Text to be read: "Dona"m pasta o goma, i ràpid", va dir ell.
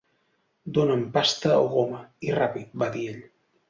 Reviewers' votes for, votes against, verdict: 2, 0, accepted